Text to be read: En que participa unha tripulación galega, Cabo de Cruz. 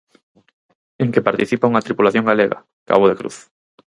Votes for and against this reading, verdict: 4, 0, accepted